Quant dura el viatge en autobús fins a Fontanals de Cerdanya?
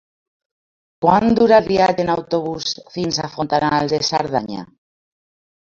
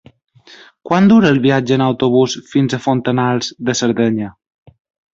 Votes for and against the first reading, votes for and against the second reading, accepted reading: 2, 0, 0, 2, first